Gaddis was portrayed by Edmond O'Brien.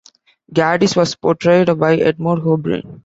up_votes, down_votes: 2, 1